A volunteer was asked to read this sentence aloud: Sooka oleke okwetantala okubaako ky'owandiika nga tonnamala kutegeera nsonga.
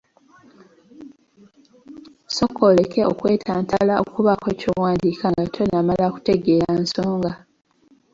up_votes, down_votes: 2, 0